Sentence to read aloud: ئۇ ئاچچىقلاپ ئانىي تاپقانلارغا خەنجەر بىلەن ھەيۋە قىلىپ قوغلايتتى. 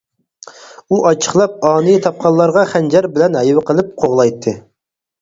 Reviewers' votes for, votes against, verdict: 4, 0, accepted